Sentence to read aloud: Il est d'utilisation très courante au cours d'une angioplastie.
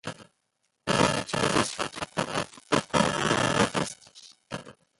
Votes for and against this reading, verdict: 0, 3, rejected